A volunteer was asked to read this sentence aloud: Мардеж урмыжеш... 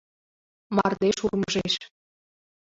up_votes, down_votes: 2, 0